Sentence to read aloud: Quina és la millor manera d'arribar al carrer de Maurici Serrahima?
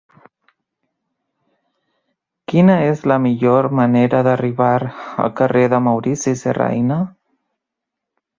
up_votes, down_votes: 0, 2